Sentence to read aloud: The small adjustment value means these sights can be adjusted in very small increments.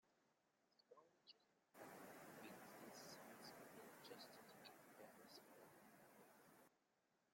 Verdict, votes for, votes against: rejected, 0, 2